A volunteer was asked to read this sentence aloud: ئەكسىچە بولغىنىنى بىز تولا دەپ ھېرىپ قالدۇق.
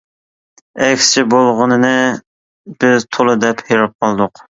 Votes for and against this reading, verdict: 2, 0, accepted